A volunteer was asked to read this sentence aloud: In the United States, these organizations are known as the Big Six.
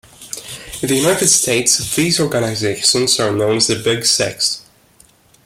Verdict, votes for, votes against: rejected, 1, 2